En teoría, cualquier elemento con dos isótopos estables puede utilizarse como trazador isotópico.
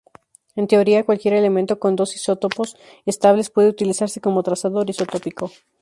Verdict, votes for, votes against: accepted, 4, 0